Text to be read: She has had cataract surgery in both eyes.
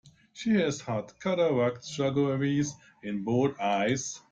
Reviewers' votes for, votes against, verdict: 0, 2, rejected